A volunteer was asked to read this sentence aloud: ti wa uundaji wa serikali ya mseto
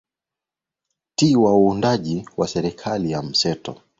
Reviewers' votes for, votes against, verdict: 2, 0, accepted